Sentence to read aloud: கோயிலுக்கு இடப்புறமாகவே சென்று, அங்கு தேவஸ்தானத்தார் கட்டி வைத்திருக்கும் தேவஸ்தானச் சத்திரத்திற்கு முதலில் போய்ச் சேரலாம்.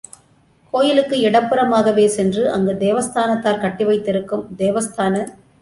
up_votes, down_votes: 0, 2